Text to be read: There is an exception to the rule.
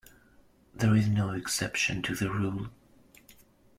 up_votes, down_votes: 0, 2